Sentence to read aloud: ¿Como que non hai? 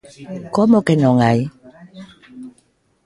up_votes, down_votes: 2, 0